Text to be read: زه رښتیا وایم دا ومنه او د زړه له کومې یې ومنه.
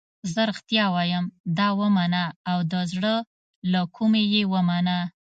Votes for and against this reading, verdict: 2, 0, accepted